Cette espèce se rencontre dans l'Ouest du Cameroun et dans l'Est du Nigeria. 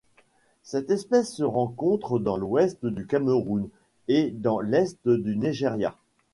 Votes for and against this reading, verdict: 2, 0, accepted